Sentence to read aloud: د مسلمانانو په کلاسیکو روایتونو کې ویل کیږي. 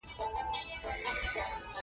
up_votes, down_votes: 3, 0